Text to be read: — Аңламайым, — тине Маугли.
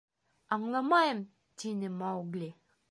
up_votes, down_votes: 2, 0